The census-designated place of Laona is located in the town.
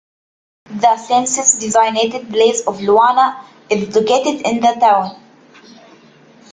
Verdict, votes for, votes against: rejected, 0, 2